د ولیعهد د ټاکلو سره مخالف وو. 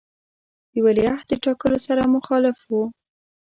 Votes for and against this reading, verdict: 0, 2, rejected